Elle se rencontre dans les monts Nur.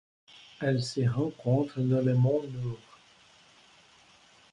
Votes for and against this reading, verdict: 0, 2, rejected